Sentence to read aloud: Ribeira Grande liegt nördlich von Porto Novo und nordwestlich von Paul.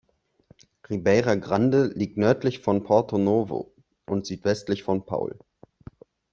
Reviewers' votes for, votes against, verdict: 0, 2, rejected